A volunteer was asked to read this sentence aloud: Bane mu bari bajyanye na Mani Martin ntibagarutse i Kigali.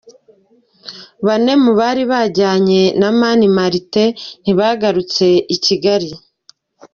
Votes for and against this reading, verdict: 2, 0, accepted